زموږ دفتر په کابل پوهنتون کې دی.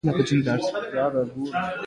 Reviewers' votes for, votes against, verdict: 2, 1, accepted